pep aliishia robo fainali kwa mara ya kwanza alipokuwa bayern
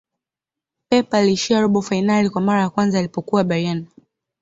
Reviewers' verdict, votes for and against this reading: accepted, 2, 0